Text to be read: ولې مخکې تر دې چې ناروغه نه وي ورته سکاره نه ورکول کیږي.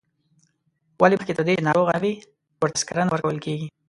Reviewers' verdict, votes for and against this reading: rejected, 1, 2